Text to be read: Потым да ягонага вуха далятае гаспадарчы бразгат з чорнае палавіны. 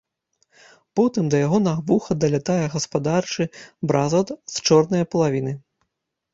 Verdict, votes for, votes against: rejected, 0, 2